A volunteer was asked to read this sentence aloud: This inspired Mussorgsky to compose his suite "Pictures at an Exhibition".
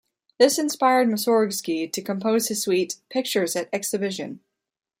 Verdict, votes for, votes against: accepted, 2, 1